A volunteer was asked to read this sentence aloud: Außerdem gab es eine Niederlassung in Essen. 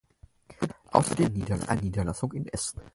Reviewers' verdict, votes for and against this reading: rejected, 0, 4